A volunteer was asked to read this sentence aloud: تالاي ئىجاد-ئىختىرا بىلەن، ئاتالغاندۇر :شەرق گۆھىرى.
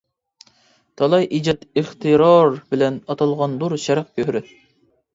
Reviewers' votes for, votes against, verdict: 0, 2, rejected